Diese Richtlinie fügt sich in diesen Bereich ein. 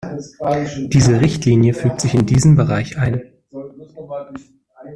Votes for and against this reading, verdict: 2, 1, accepted